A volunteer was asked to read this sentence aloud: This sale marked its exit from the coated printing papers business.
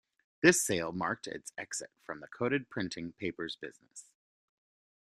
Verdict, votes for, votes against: accepted, 2, 0